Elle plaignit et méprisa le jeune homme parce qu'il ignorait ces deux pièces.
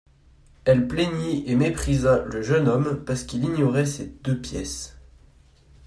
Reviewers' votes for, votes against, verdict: 2, 0, accepted